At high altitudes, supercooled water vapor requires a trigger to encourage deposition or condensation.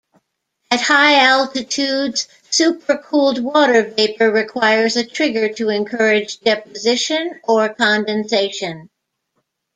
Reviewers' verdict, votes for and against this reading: accepted, 2, 0